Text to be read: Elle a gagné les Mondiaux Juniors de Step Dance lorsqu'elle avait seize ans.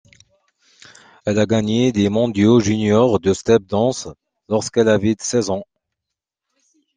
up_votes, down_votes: 1, 2